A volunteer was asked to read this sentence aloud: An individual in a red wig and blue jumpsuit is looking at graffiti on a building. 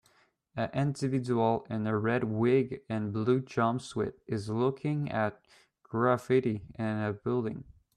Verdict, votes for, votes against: rejected, 1, 2